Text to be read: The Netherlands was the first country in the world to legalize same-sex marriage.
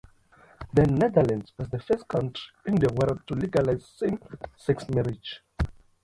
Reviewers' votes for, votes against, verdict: 2, 0, accepted